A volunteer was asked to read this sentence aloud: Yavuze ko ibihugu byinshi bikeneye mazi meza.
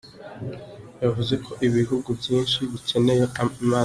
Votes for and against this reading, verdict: 0, 2, rejected